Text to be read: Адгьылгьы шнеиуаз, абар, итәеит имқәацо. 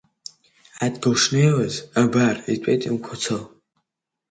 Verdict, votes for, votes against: rejected, 0, 2